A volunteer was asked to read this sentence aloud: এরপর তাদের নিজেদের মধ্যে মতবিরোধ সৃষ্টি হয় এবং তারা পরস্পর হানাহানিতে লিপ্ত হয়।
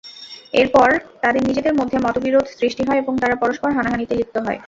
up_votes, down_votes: 0, 2